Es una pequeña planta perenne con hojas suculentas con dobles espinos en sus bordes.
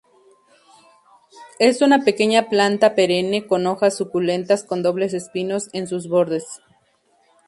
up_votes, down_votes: 2, 0